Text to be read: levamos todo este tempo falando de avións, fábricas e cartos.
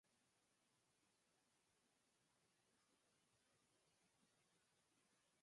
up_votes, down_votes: 0, 4